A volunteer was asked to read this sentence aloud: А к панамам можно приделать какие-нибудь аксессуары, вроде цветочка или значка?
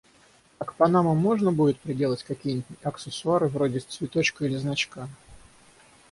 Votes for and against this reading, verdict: 0, 6, rejected